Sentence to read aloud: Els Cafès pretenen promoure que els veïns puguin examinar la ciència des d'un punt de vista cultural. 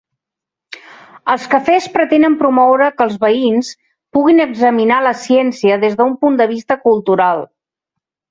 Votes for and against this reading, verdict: 2, 0, accepted